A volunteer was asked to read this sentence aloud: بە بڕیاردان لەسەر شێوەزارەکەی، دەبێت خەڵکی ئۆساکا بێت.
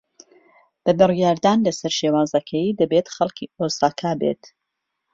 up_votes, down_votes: 0, 2